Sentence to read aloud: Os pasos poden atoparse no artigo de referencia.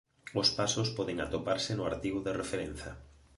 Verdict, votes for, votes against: accepted, 2, 1